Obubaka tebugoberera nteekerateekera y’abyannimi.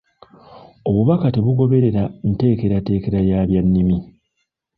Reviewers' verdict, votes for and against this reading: rejected, 1, 2